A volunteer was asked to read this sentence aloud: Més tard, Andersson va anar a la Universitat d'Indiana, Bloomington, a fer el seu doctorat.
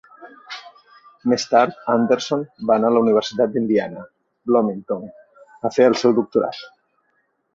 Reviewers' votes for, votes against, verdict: 2, 0, accepted